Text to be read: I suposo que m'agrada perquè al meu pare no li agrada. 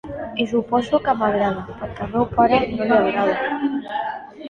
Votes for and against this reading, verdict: 0, 2, rejected